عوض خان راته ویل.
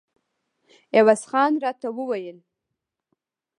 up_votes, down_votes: 1, 2